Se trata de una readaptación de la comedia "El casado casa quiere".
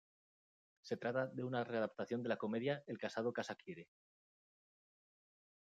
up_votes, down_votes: 2, 0